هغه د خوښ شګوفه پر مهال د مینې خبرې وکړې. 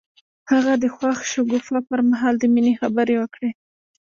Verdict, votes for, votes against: rejected, 1, 2